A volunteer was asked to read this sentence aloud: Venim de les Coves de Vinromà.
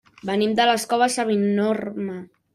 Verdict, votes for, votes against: rejected, 0, 2